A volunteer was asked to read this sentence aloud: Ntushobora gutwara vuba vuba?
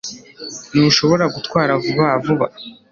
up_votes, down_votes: 2, 0